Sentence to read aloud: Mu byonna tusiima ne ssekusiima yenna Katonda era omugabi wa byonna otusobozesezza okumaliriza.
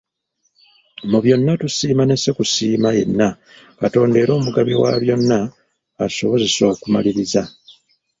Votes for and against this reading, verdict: 1, 2, rejected